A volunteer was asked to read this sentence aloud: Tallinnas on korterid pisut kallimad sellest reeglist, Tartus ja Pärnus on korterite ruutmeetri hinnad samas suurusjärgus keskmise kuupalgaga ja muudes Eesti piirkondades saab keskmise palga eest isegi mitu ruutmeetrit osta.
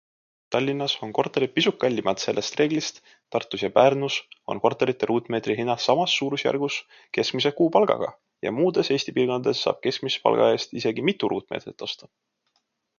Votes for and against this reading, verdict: 2, 0, accepted